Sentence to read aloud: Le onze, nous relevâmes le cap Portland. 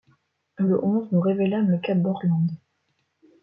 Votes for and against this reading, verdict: 1, 2, rejected